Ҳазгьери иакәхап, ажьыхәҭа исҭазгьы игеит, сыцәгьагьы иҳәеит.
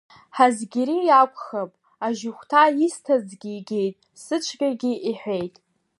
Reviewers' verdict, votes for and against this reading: accepted, 2, 1